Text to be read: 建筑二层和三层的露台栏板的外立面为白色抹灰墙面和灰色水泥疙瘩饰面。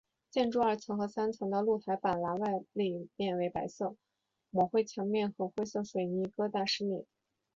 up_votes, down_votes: 2, 0